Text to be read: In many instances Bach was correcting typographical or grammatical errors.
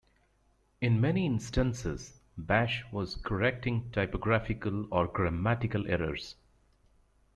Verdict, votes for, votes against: rejected, 1, 2